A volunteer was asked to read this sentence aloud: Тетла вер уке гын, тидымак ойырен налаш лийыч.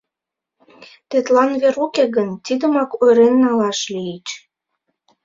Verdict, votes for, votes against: rejected, 1, 2